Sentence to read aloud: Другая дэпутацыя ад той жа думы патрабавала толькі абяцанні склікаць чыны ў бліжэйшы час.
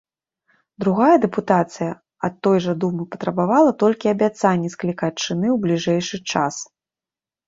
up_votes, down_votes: 2, 0